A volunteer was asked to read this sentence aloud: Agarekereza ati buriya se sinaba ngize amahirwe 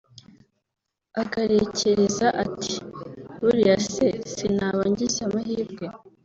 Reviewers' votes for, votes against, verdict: 1, 2, rejected